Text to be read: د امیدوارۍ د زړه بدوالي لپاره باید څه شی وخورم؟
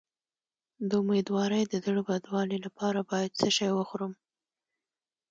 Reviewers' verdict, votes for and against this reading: accepted, 2, 1